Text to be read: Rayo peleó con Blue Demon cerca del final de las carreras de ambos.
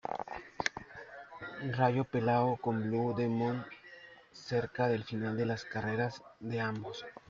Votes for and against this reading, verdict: 0, 2, rejected